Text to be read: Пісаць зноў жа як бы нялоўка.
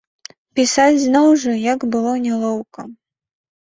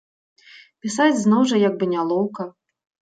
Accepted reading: second